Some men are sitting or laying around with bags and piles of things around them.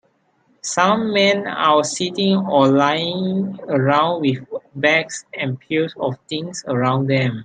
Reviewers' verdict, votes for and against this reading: rejected, 0, 2